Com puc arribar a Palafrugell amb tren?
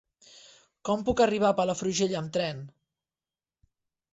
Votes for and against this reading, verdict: 3, 0, accepted